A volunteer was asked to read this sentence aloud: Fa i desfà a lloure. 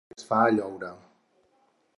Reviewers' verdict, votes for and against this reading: rejected, 0, 4